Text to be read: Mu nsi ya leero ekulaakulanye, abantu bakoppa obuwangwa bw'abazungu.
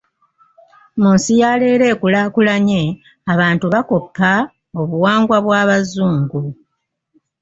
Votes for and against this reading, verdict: 2, 1, accepted